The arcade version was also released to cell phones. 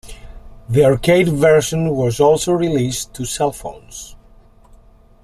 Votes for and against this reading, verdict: 2, 0, accepted